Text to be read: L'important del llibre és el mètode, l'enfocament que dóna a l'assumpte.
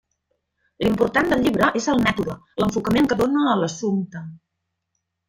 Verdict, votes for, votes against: rejected, 1, 2